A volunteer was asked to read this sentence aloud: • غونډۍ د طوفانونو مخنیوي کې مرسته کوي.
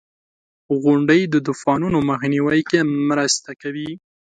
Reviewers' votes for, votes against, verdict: 2, 0, accepted